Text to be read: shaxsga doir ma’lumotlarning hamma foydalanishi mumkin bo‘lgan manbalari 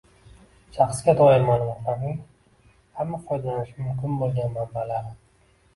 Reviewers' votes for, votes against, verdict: 1, 2, rejected